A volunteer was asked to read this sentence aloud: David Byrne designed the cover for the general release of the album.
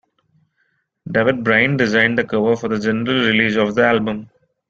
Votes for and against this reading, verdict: 0, 2, rejected